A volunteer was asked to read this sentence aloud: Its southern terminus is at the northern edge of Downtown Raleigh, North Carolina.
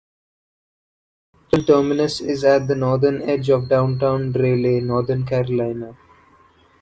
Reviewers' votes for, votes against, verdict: 0, 2, rejected